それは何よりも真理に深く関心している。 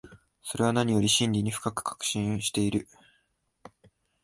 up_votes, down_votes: 4, 2